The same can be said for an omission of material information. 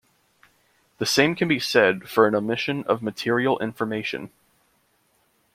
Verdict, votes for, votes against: accepted, 2, 0